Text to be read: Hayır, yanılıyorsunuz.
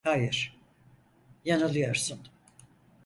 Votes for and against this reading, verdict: 0, 4, rejected